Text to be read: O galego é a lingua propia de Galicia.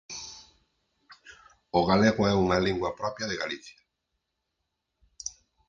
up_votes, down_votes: 0, 4